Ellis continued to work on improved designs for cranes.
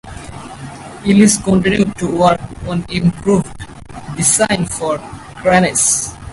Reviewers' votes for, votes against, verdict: 2, 4, rejected